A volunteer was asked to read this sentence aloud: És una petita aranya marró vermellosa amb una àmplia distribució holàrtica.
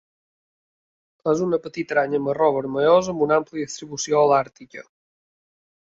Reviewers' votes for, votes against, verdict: 2, 0, accepted